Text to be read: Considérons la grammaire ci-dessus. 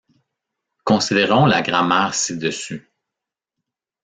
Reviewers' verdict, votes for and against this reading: accepted, 2, 0